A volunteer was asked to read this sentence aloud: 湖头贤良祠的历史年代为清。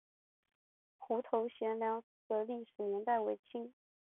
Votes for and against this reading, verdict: 4, 2, accepted